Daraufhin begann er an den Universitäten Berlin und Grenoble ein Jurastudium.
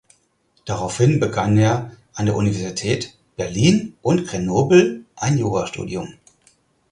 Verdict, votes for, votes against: rejected, 0, 4